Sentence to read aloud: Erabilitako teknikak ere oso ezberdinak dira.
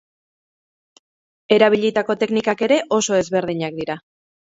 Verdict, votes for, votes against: rejected, 0, 2